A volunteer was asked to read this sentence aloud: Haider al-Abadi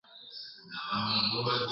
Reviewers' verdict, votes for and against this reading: rejected, 0, 2